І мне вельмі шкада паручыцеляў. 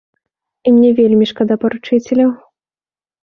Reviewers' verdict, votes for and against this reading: accepted, 2, 0